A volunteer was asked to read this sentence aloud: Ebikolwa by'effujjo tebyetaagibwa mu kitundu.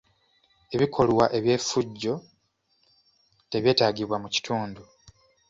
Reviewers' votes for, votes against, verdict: 1, 2, rejected